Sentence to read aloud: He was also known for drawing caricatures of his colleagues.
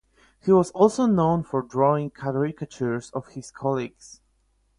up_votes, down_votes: 4, 0